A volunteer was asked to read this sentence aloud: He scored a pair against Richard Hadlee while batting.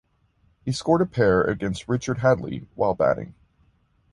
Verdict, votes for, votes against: accepted, 2, 0